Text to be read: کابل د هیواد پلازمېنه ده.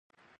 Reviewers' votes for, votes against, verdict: 0, 4, rejected